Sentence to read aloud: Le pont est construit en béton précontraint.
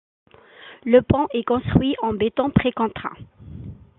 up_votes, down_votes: 2, 0